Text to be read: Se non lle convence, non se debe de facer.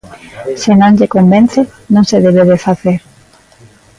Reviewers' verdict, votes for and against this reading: accepted, 2, 0